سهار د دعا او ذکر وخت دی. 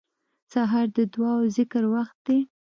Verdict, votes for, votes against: accepted, 2, 1